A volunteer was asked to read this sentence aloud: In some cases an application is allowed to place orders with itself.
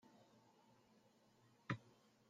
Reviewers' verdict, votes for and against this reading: rejected, 1, 2